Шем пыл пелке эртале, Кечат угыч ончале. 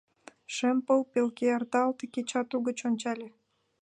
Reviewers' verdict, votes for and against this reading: accepted, 2, 1